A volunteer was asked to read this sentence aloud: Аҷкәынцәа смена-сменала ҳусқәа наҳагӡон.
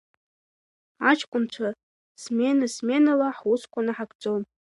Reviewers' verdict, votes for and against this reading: accepted, 2, 0